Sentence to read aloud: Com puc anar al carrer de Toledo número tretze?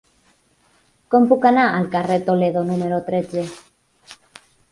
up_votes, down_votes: 2, 4